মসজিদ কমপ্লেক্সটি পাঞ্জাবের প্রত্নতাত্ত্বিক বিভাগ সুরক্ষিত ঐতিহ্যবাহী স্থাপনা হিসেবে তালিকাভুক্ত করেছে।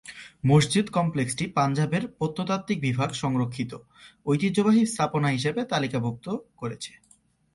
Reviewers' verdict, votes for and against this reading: accepted, 2, 0